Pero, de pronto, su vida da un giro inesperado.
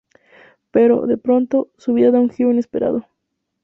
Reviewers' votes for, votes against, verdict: 2, 0, accepted